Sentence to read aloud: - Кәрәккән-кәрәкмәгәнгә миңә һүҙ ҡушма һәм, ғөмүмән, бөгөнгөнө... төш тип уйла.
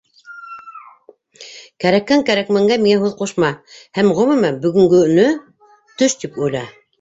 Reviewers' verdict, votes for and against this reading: rejected, 1, 2